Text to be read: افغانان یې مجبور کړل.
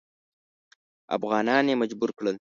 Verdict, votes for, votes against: accepted, 2, 0